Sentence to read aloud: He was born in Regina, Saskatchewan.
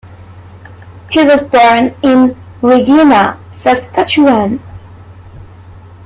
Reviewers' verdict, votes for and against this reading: accepted, 2, 0